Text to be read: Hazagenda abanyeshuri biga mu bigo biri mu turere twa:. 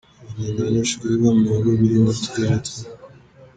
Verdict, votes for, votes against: rejected, 1, 2